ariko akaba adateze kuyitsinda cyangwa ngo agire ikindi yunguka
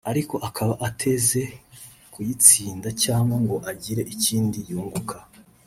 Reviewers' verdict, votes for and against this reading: rejected, 1, 3